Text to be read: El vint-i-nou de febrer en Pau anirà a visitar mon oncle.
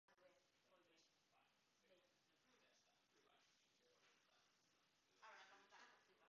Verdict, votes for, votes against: rejected, 0, 2